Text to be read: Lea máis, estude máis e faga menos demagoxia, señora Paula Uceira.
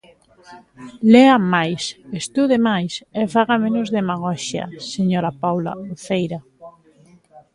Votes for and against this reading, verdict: 2, 1, accepted